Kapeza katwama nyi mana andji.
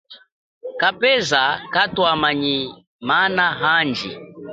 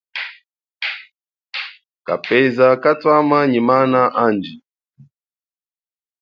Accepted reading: second